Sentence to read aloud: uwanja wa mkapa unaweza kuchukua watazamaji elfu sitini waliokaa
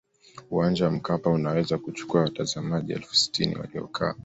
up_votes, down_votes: 2, 0